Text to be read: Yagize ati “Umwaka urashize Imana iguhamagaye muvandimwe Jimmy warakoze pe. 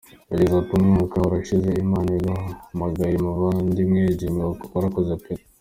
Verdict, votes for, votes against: rejected, 1, 2